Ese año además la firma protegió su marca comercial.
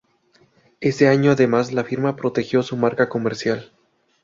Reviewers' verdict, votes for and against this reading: accepted, 2, 0